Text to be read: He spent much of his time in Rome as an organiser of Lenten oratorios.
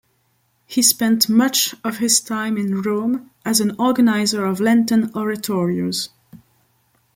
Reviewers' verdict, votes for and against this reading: accepted, 2, 0